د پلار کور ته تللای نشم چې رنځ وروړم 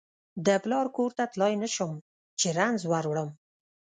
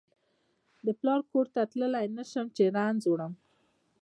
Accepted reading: second